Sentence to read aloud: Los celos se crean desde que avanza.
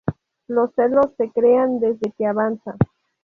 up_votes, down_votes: 0, 2